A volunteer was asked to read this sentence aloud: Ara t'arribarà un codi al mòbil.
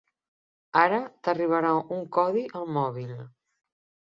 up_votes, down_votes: 5, 0